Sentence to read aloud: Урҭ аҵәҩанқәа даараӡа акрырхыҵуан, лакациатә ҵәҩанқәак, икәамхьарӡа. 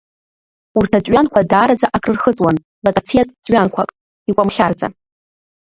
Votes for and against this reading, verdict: 0, 2, rejected